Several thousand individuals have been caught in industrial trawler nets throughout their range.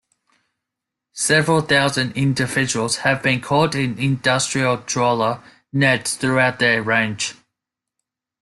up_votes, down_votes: 2, 0